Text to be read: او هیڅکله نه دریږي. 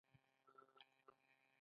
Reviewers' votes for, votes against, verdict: 0, 2, rejected